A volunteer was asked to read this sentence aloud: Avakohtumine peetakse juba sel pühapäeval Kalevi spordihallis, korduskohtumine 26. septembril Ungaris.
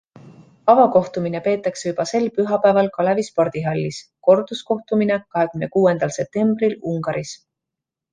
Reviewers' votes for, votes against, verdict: 0, 2, rejected